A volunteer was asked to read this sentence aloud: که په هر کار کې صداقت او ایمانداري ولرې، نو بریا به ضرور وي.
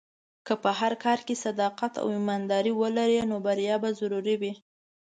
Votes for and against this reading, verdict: 1, 2, rejected